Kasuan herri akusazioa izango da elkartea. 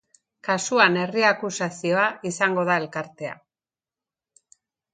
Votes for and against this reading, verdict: 2, 0, accepted